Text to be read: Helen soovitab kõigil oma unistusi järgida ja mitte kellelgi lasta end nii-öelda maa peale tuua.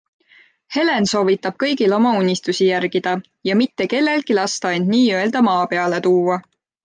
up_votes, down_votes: 2, 0